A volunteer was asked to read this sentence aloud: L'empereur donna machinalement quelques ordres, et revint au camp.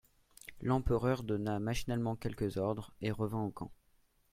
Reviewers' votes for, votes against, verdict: 2, 0, accepted